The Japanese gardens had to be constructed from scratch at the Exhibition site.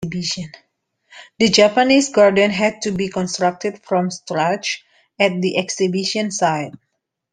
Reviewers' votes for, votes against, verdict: 0, 2, rejected